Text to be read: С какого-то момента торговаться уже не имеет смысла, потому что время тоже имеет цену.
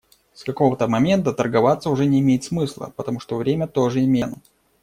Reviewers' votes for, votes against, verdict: 0, 2, rejected